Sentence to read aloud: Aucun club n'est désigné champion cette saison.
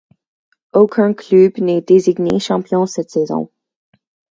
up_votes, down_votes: 4, 2